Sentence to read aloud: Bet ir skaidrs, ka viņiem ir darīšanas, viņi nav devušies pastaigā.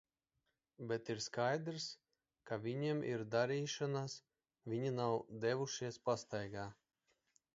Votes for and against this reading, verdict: 2, 0, accepted